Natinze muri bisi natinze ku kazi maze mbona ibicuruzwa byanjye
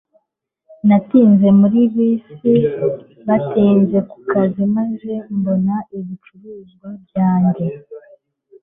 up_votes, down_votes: 2, 0